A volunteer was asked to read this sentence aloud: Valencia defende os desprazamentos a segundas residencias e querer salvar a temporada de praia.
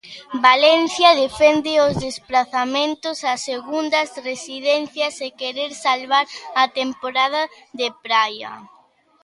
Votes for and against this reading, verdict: 2, 0, accepted